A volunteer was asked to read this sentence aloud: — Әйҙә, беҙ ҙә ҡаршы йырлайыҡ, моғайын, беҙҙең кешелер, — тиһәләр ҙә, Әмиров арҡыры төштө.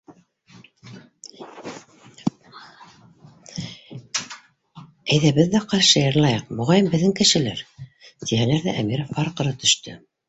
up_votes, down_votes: 0, 2